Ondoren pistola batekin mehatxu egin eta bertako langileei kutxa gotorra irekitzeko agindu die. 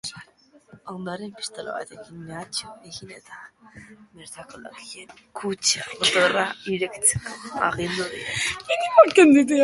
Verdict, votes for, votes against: rejected, 0, 2